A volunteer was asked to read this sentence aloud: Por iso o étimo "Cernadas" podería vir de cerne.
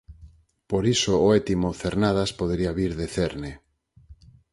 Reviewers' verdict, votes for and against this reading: accepted, 4, 0